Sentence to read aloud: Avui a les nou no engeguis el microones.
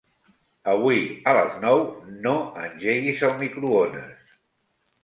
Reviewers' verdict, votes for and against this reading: accepted, 3, 0